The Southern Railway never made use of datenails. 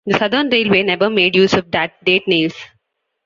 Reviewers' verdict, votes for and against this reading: rejected, 0, 2